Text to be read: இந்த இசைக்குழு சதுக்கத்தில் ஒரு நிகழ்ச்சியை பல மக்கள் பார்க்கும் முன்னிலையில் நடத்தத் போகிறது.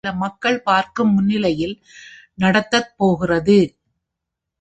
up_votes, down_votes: 0, 2